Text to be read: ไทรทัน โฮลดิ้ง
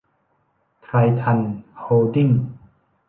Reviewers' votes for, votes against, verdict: 2, 0, accepted